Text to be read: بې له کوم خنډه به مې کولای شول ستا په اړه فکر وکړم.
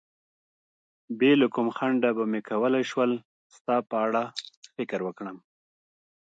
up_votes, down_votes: 1, 2